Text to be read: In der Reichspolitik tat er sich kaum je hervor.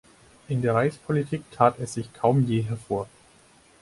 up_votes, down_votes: 0, 4